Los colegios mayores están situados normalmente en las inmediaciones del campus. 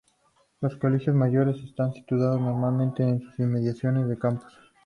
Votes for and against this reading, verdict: 0, 2, rejected